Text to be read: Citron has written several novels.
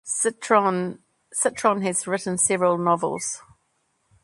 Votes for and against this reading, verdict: 0, 2, rejected